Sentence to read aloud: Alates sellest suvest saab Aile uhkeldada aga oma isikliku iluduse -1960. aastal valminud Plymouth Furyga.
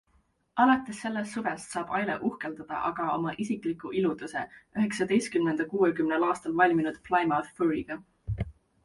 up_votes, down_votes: 0, 2